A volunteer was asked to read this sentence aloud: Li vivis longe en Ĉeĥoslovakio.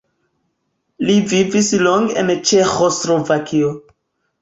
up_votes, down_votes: 2, 1